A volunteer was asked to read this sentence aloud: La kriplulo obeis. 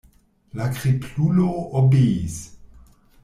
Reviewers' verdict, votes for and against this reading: rejected, 1, 2